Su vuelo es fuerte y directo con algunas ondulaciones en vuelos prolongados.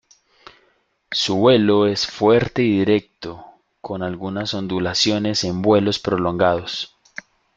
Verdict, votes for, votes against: accepted, 2, 0